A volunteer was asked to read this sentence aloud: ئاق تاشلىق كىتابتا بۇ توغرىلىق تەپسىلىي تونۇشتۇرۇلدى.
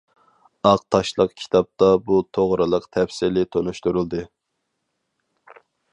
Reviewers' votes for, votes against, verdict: 4, 0, accepted